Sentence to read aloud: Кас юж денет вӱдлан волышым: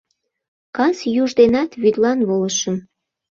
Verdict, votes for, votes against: rejected, 0, 2